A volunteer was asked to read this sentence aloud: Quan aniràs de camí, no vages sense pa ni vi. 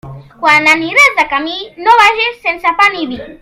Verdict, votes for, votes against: rejected, 0, 2